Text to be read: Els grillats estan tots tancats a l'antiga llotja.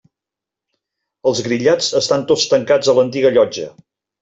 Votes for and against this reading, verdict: 3, 0, accepted